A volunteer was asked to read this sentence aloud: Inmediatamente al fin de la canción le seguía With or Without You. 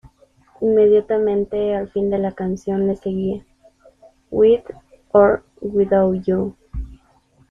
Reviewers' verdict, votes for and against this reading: rejected, 0, 2